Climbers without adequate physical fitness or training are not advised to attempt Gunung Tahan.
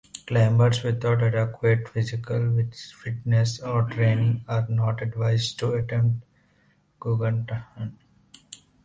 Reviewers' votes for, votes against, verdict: 0, 3, rejected